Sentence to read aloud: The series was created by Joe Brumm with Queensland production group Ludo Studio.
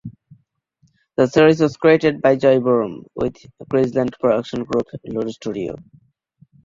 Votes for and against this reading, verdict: 1, 2, rejected